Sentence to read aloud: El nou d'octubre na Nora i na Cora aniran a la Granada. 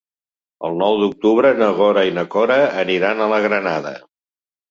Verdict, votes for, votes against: rejected, 0, 2